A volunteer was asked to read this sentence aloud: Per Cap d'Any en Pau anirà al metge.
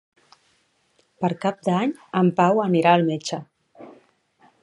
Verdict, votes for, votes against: accepted, 3, 0